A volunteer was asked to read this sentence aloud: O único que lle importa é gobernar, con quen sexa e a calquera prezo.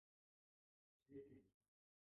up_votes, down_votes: 0, 2